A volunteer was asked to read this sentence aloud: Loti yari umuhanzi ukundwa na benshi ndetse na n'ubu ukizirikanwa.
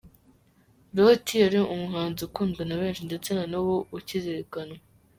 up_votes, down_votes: 2, 1